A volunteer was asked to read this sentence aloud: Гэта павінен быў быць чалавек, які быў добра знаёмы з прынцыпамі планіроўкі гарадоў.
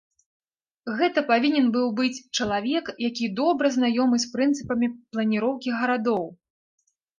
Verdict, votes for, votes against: rejected, 0, 2